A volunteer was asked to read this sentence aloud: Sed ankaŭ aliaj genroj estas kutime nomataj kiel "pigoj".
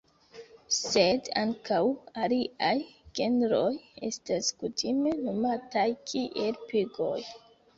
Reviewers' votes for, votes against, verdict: 2, 0, accepted